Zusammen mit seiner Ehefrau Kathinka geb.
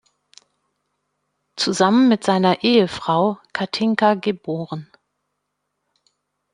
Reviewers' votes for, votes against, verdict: 1, 2, rejected